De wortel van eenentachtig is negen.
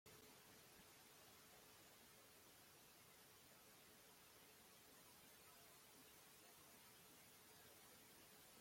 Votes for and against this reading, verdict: 0, 2, rejected